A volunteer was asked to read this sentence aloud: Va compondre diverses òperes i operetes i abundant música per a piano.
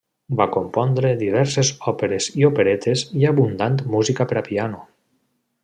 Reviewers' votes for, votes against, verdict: 2, 0, accepted